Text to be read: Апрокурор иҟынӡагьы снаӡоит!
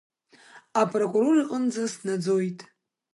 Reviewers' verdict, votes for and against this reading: rejected, 0, 2